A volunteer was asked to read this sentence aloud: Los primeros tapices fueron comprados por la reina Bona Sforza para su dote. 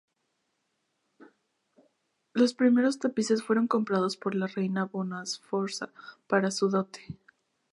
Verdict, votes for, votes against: rejected, 0, 2